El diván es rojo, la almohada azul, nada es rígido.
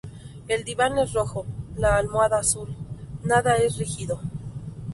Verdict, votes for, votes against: rejected, 0, 2